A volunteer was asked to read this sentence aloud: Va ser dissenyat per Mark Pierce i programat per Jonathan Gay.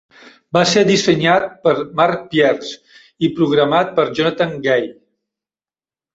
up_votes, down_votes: 0, 2